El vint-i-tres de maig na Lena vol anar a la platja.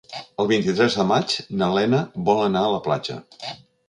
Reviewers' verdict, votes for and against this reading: accepted, 3, 0